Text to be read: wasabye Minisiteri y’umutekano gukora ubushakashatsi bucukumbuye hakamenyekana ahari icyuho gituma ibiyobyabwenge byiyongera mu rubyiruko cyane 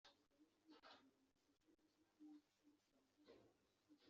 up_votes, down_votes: 0, 2